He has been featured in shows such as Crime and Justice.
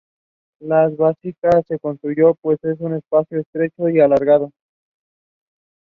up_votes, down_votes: 0, 2